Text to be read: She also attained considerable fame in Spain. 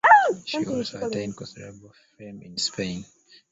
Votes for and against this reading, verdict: 0, 2, rejected